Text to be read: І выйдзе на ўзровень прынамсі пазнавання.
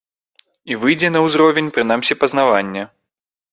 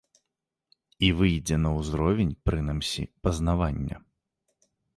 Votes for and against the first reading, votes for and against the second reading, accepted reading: 3, 0, 1, 2, first